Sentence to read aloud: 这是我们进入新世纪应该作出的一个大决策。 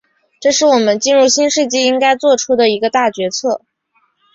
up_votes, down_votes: 2, 1